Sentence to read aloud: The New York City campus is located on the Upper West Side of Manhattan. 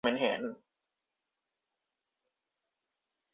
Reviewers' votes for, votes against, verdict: 0, 2, rejected